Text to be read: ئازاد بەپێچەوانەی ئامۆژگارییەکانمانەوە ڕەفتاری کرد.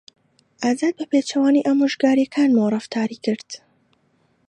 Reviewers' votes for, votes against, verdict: 2, 1, accepted